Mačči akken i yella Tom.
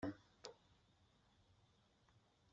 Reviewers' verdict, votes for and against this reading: rejected, 1, 2